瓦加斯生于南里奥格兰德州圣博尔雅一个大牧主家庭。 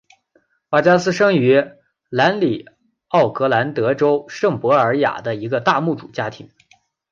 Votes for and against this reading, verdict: 2, 0, accepted